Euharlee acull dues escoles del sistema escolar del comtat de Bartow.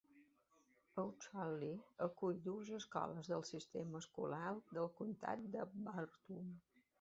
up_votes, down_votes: 0, 2